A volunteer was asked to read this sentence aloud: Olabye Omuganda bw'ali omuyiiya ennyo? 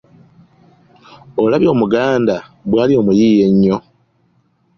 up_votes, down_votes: 2, 0